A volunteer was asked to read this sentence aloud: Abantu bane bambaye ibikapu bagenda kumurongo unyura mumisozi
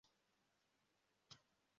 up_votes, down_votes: 0, 2